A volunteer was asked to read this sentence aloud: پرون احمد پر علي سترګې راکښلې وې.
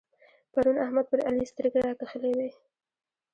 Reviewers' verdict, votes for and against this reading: accepted, 2, 0